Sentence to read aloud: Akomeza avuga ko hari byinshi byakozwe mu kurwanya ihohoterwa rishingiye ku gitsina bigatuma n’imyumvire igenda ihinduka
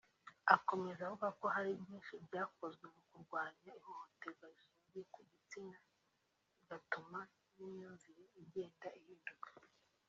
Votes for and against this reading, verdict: 1, 2, rejected